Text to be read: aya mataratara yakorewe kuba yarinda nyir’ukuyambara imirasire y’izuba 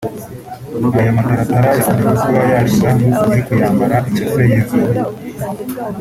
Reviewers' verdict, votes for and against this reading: rejected, 1, 2